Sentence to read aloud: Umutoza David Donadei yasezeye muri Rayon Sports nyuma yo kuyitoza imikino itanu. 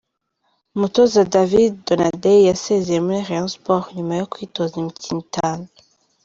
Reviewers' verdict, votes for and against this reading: rejected, 1, 2